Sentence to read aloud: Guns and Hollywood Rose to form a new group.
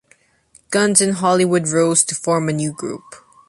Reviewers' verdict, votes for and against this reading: accepted, 2, 0